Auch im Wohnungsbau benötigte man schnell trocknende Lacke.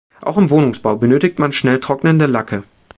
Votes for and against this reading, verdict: 0, 2, rejected